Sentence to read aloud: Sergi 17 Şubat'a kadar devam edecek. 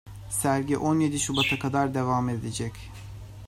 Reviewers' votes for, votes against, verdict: 0, 2, rejected